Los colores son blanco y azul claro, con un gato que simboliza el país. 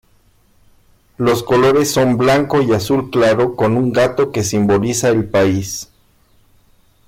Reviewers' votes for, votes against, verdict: 2, 0, accepted